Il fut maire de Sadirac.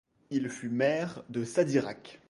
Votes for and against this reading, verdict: 2, 0, accepted